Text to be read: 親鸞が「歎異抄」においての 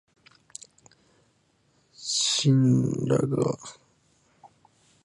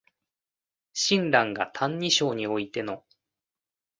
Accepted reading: second